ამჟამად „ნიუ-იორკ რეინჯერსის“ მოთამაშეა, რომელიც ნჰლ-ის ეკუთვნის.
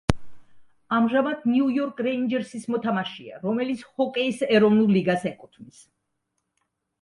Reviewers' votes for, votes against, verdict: 0, 2, rejected